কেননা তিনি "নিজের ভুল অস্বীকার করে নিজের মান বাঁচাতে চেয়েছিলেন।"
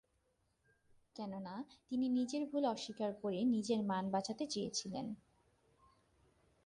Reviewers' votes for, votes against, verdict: 2, 0, accepted